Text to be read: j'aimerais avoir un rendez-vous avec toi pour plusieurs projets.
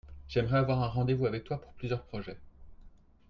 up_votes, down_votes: 2, 1